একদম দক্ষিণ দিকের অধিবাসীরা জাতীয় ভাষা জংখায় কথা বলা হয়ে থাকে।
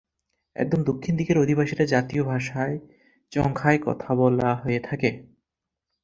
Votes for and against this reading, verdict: 0, 4, rejected